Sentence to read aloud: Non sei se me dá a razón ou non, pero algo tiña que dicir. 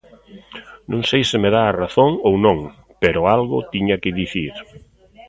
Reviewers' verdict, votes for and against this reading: rejected, 1, 2